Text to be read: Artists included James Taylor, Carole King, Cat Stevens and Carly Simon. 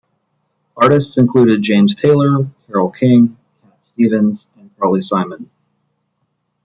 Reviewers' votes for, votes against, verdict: 0, 2, rejected